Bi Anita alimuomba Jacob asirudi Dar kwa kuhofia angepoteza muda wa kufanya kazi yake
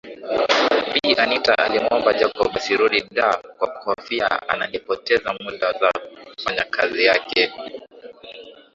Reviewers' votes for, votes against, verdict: 2, 1, accepted